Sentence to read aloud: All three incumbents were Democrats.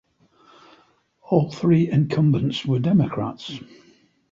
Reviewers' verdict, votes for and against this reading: accepted, 2, 0